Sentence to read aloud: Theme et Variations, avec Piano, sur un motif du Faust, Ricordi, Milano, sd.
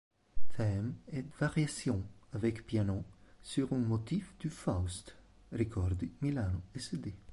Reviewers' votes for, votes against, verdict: 0, 2, rejected